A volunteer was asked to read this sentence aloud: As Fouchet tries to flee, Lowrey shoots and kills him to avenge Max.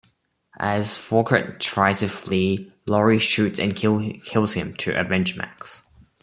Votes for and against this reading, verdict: 2, 1, accepted